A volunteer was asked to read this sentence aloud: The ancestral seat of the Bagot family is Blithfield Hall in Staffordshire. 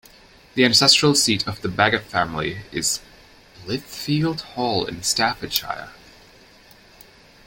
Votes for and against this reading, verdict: 1, 2, rejected